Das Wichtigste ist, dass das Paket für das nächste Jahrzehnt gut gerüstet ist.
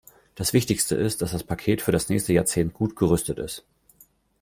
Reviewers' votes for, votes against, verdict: 2, 0, accepted